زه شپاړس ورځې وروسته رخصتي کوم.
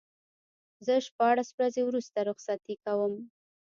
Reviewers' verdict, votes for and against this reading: rejected, 1, 2